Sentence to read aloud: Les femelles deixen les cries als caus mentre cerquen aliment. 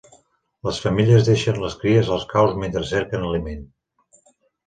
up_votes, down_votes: 2, 0